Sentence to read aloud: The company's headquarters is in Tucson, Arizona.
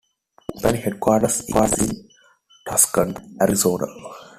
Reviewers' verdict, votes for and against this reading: rejected, 1, 2